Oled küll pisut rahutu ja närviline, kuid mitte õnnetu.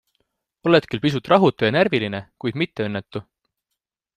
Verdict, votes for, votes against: accepted, 2, 0